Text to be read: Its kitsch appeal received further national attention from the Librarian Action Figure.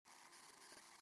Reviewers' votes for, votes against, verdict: 0, 2, rejected